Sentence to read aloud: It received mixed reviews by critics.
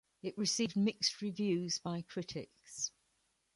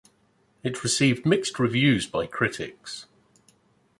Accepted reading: second